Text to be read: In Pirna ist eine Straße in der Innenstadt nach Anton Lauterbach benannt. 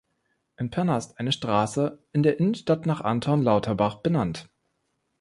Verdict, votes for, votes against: accepted, 2, 0